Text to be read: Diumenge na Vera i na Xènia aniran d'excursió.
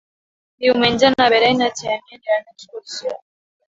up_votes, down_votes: 2, 1